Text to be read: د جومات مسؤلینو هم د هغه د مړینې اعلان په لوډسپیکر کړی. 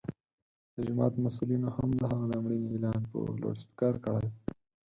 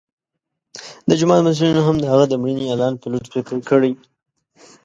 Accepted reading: second